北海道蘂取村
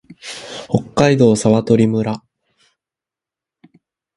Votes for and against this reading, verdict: 2, 0, accepted